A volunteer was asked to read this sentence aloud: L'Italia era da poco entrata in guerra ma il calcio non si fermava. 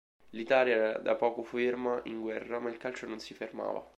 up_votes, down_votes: 0, 2